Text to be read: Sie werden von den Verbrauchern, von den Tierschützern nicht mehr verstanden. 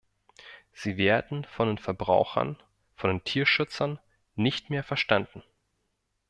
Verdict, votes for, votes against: rejected, 1, 2